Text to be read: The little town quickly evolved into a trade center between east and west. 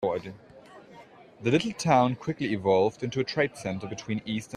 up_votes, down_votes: 0, 2